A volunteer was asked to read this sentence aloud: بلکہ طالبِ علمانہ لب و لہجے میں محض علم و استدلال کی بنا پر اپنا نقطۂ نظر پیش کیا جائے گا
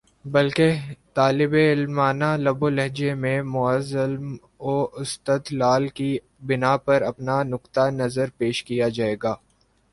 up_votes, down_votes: 2, 1